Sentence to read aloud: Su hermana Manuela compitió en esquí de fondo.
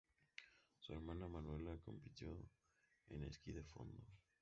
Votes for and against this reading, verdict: 0, 2, rejected